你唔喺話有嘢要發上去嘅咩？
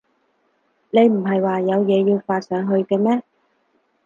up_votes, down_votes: 4, 0